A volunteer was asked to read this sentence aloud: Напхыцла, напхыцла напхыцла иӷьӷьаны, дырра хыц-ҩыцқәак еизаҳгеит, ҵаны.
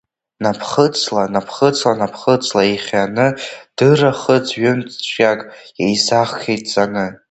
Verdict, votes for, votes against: rejected, 0, 2